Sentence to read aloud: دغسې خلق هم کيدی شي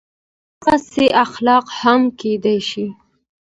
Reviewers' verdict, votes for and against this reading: rejected, 1, 2